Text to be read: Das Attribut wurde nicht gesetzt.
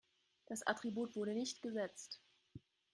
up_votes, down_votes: 3, 0